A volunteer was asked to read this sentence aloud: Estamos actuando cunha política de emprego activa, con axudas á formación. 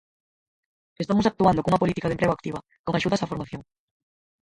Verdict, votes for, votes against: rejected, 0, 4